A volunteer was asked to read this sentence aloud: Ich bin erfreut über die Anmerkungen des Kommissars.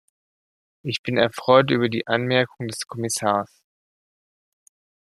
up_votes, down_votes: 2, 1